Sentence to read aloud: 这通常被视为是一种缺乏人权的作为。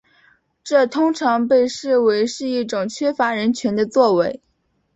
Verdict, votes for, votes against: accepted, 3, 1